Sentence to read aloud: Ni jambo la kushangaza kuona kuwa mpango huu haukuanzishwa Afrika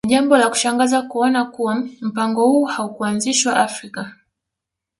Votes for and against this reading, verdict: 1, 2, rejected